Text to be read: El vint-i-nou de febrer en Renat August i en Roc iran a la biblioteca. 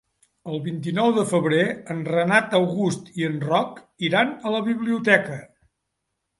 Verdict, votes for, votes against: accepted, 3, 0